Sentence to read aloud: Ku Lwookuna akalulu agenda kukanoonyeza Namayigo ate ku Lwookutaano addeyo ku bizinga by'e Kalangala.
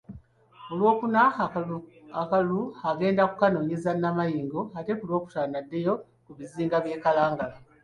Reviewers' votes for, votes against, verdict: 0, 2, rejected